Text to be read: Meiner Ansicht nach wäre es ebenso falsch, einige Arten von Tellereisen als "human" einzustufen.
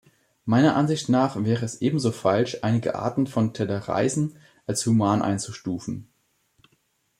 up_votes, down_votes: 2, 0